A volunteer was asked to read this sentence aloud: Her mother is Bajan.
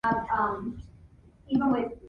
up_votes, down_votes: 0, 2